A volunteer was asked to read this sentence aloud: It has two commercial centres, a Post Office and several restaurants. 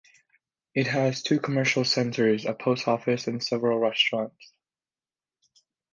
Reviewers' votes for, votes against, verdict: 2, 0, accepted